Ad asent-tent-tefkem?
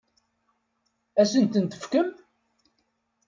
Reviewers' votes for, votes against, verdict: 2, 0, accepted